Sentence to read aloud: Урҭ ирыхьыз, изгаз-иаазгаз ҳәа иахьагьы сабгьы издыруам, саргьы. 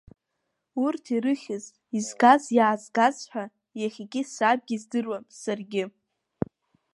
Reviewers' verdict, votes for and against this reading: accepted, 2, 0